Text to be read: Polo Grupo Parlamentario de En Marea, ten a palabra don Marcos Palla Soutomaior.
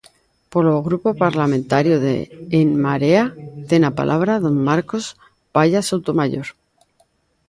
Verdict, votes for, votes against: accepted, 2, 0